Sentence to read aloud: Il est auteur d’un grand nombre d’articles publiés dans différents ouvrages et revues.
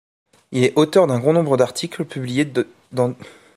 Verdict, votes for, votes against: rejected, 1, 2